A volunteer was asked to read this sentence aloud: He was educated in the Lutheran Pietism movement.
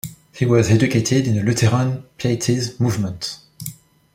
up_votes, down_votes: 1, 2